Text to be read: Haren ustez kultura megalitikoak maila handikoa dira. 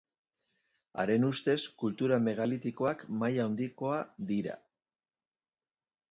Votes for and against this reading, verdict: 0, 2, rejected